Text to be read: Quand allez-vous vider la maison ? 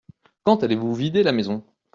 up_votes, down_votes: 2, 0